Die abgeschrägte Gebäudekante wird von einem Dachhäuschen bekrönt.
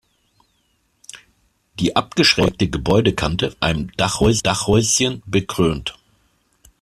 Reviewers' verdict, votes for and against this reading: rejected, 0, 2